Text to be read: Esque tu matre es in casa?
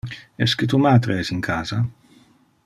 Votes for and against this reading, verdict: 2, 0, accepted